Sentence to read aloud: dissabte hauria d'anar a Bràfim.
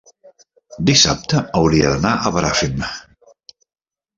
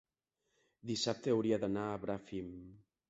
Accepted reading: second